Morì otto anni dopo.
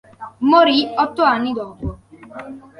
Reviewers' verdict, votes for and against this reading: accepted, 2, 0